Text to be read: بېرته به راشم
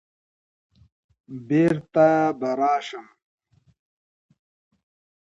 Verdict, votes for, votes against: accepted, 2, 0